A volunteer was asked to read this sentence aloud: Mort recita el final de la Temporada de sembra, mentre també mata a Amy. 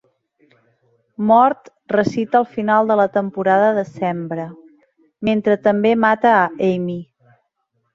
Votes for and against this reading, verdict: 2, 0, accepted